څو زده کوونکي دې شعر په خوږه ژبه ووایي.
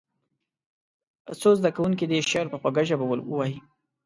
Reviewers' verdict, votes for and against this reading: accepted, 2, 0